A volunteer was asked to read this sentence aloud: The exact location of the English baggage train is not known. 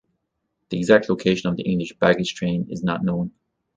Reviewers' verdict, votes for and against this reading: accepted, 2, 0